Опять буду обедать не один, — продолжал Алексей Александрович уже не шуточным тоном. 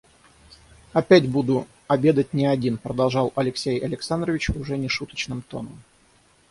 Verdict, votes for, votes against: rejected, 0, 3